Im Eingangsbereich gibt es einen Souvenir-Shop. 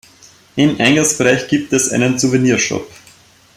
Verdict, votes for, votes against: accepted, 2, 0